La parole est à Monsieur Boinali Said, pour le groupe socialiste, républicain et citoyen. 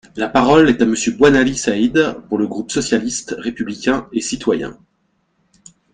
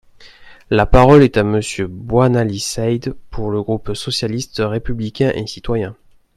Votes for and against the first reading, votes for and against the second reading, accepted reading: 2, 0, 1, 2, first